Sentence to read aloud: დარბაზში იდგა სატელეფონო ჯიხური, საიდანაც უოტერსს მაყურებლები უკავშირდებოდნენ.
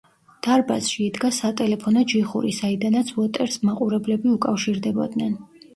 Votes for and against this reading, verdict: 1, 2, rejected